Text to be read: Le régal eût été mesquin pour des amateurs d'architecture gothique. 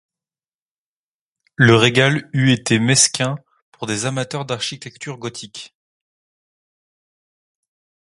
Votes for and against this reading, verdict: 2, 0, accepted